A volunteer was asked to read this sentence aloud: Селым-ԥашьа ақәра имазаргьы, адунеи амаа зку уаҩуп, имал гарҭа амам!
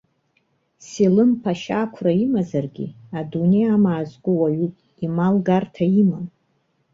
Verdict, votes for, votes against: accepted, 2, 1